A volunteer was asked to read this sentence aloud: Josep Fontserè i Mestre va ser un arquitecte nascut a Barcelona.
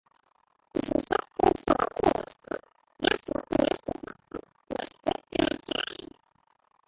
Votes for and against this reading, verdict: 0, 2, rejected